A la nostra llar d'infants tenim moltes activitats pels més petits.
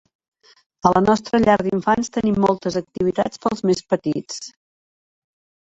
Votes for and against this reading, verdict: 3, 0, accepted